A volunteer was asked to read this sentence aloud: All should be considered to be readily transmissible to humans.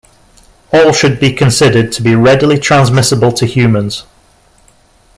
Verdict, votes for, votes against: accepted, 2, 0